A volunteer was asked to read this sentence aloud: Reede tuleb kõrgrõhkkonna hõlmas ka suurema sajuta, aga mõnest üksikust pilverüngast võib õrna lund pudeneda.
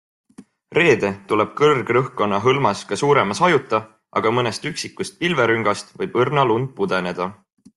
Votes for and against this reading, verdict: 2, 0, accepted